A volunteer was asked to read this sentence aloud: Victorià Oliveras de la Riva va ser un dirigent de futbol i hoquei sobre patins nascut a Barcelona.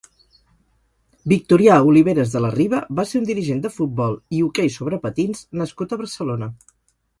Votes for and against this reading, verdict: 2, 2, rejected